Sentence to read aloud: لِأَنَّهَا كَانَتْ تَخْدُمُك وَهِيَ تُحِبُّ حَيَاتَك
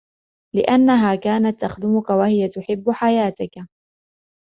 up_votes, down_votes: 2, 1